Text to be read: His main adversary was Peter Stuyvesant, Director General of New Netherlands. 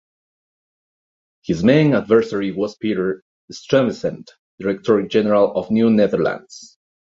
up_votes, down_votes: 0, 2